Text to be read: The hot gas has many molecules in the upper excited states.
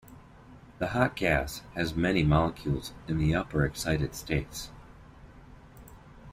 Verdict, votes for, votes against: accepted, 2, 0